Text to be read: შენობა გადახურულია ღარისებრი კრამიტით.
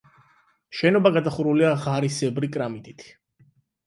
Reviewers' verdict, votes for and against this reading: accepted, 8, 0